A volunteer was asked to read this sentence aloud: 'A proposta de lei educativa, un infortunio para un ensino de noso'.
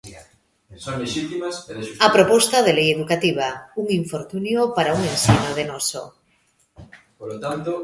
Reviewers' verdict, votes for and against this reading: rejected, 0, 2